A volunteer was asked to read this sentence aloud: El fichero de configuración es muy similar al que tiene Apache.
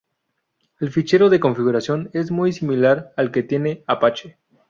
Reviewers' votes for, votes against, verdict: 2, 2, rejected